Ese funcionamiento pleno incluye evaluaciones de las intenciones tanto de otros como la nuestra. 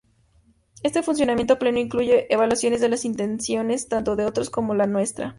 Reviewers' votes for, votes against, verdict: 2, 2, rejected